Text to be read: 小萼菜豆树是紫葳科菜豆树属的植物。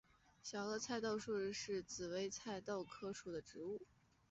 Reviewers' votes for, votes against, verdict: 4, 1, accepted